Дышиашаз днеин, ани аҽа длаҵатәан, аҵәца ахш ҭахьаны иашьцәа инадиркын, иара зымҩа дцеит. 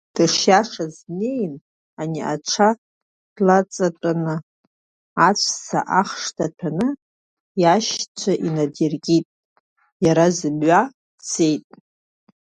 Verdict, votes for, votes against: accepted, 2, 0